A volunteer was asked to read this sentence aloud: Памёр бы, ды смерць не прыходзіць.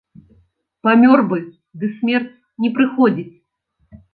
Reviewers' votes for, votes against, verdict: 2, 0, accepted